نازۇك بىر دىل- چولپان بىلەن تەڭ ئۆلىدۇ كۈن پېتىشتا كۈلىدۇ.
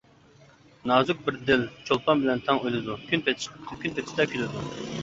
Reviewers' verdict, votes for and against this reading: rejected, 0, 2